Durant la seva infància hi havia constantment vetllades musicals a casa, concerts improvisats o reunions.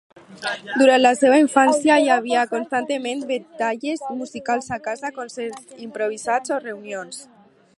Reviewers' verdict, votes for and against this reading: rejected, 0, 2